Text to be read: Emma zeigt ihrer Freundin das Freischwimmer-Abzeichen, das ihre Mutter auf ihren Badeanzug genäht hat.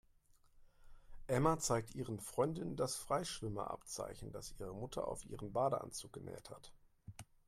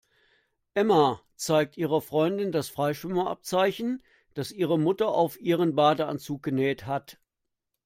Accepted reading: second